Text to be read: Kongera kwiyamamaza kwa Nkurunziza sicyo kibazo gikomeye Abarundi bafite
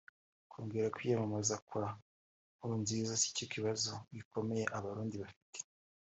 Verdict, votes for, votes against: accepted, 4, 0